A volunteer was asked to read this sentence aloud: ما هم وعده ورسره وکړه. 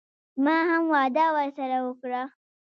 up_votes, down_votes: 0, 2